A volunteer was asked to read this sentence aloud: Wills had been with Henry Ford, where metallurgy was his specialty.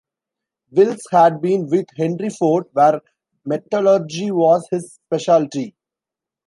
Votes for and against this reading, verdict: 1, 2, rejected